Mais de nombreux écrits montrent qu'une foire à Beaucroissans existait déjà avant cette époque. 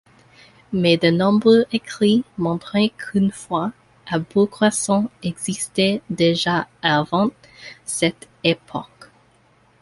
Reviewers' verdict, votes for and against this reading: rejected, 0, 2